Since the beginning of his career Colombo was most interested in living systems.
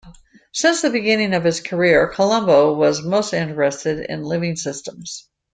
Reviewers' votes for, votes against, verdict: 2, 0, accepted